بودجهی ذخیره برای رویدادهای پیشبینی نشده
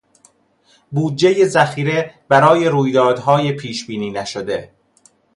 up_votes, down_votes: 2, 0